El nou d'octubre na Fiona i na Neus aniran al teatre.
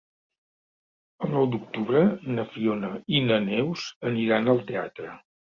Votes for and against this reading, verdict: 3, 0, accepted